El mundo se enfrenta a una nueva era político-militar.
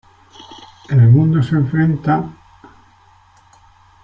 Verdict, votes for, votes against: rejected, 0, 2